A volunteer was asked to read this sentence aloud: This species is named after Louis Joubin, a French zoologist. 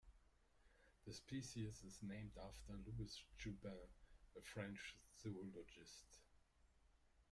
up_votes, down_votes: 0, 2